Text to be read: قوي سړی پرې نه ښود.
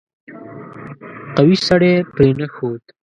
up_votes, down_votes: 1, 2